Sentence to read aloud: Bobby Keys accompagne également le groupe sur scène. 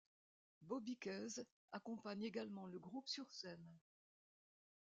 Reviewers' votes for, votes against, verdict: 2, 0, accepted